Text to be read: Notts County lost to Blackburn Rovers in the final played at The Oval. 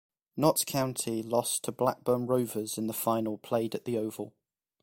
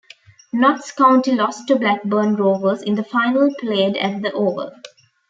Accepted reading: first